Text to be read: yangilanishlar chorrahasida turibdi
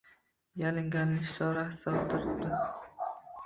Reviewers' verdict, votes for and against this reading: rejected, 0, 2